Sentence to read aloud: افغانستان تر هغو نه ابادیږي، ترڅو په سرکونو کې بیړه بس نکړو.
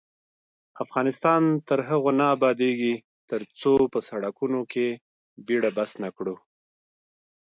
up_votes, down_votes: 2, 0